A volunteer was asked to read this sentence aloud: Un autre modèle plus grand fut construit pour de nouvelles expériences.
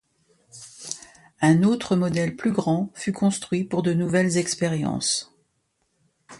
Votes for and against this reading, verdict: 2, 0, accepted